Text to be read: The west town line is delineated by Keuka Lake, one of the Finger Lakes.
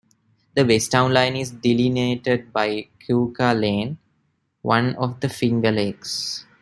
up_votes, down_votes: 1, 2